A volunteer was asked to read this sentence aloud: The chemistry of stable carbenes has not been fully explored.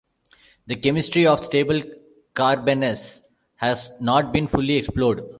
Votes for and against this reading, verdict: 1, 2, rejected